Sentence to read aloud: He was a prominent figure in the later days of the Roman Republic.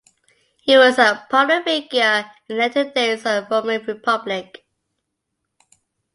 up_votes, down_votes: 1, 2